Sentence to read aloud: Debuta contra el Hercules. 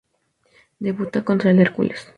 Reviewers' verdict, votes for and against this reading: accepted, 2, 0